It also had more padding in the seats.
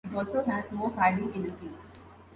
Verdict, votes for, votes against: rejected, 1, 2